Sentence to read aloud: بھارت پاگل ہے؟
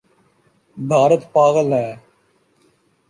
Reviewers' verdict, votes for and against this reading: accepted, 2, 0